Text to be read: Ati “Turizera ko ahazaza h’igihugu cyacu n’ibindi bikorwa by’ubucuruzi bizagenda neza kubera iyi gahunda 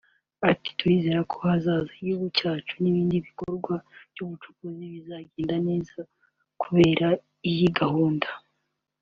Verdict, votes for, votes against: accepted, 2, 0